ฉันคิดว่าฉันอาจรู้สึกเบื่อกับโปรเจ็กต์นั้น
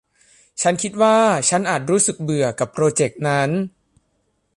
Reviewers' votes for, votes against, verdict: 2, 0, accepted